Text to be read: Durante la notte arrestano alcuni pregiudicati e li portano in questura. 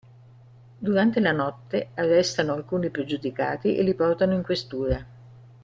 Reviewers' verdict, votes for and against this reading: rejected, 1, 2